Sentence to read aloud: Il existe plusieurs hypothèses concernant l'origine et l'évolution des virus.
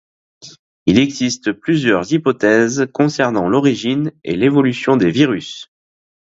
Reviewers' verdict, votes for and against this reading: accepted, 2, 0